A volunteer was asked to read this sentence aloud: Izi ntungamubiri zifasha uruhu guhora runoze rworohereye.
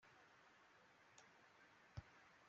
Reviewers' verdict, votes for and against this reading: rejected, 0, 2